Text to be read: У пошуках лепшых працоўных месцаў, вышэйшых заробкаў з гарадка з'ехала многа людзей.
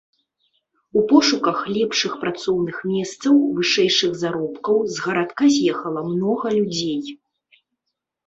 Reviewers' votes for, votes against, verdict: 2, 0, accepted